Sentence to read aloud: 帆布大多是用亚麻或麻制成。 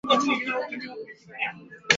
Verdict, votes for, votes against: rejected, 0, 2